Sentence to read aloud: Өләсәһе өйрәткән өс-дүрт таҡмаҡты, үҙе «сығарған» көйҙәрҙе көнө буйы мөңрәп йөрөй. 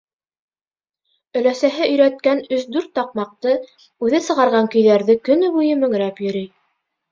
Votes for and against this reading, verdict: 3, 0, accepted